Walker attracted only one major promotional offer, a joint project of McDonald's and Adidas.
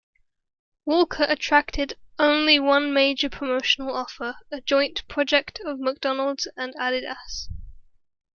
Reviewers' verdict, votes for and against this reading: rejected, 0, 2